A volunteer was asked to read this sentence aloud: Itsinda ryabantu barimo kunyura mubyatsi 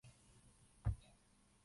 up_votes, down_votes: 0, 2